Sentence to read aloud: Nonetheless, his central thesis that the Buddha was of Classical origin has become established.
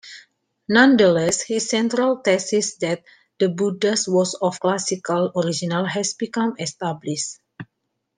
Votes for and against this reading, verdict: 2, 1, accepted